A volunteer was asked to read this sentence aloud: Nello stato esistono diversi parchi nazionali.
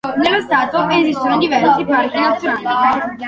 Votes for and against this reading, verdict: 2, 1, accepted